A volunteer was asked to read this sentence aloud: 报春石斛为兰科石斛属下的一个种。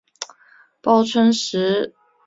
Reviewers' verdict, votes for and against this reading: accepted, 5, 1